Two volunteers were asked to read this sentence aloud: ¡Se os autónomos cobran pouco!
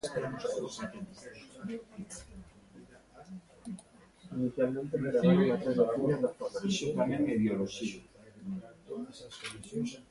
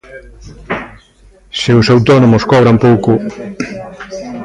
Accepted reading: second